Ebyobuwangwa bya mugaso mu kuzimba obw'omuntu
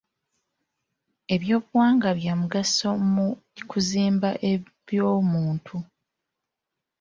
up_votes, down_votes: 0, 2